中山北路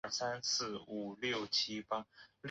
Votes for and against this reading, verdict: 0, 2, rejected